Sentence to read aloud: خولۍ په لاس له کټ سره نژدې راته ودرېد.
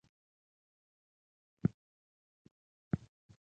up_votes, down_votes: 0, 2